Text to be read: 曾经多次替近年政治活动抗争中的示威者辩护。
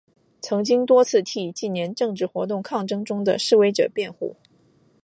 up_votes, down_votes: 6, 0